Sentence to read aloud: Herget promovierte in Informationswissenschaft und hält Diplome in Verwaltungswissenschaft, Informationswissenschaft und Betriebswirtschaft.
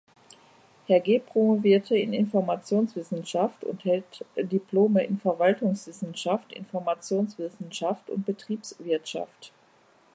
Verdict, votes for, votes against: accepted, 2, 0